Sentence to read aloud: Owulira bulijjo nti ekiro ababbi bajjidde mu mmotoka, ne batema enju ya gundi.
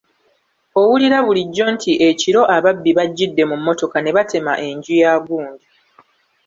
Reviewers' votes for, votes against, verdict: 1, 2, rejected